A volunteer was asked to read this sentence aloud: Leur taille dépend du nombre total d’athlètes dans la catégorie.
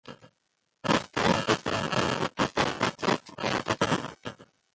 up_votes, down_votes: 0, 2